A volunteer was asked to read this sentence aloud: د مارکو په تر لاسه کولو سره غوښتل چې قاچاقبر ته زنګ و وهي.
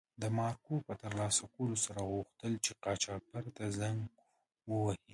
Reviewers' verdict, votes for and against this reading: accepted, 2, 0